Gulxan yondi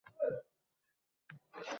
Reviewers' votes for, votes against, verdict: 0, 3, rejected